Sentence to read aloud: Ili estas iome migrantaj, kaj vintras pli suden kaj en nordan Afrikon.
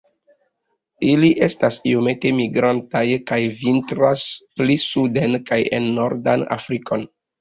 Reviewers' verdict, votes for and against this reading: rejected, 1, 2